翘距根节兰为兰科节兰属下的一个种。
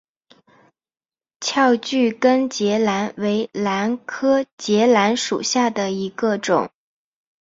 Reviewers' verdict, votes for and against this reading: accepted, 3, 0